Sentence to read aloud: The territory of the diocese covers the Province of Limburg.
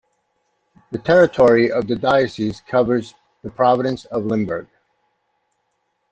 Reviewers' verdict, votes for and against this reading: rejected, 0, 2